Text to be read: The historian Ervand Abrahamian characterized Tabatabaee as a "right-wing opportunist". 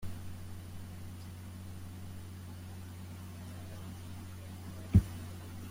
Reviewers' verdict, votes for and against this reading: rejected, 0, 2